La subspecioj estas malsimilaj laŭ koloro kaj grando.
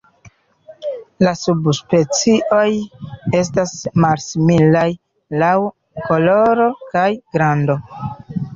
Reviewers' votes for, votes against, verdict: 2, 1, accepted